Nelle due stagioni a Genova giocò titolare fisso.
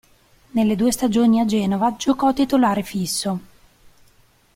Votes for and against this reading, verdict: 2, 0, accepted